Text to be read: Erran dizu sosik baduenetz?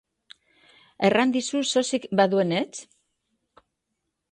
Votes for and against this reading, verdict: 2, 0, accepted